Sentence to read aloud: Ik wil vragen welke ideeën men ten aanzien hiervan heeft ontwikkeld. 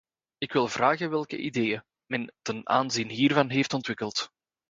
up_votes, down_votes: 2, 0